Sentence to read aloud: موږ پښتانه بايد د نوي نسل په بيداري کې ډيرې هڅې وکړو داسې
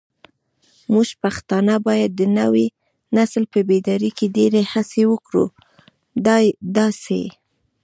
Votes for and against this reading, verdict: 0, 2, rejected